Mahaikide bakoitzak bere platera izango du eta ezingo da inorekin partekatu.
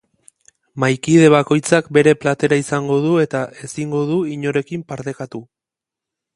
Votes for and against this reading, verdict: 2, 1, accepted